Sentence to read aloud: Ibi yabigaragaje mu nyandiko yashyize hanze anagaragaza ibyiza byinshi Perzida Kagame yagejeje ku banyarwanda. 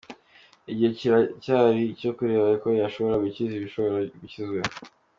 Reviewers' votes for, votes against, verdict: 0, 2, rejected